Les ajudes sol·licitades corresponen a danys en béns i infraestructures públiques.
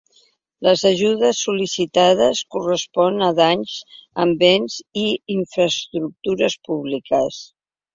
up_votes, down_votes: 2, 1